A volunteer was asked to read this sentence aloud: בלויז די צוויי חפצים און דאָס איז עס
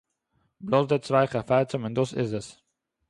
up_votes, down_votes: 0, 2